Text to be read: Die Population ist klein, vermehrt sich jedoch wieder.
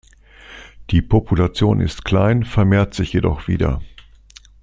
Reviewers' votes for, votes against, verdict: 2, 0, accepted